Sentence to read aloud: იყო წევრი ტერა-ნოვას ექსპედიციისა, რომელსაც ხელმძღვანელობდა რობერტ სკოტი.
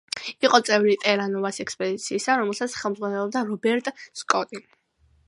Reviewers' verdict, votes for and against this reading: accepted, 2, 0